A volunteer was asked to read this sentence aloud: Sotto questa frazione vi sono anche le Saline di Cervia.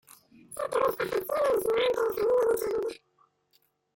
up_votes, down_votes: 0, 2